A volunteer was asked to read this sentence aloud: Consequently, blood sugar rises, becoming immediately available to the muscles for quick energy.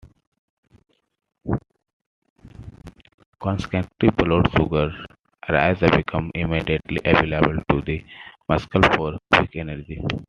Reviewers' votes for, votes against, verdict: 0, 2, rejected